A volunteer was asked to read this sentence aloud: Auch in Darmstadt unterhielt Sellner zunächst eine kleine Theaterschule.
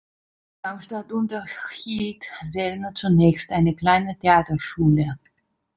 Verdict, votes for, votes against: rejected, 1, 2